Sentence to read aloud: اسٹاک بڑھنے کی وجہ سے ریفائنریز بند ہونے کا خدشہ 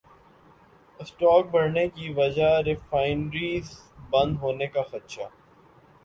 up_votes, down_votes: 2, 1